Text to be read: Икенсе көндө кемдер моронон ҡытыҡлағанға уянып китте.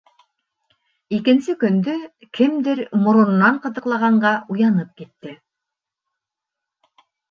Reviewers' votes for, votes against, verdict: 1, 2, rejected